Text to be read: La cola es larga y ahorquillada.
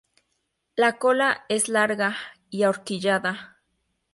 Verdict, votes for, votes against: rejected, 2, 2